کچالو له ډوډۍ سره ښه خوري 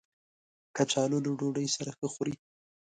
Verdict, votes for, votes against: accepted, 2, 0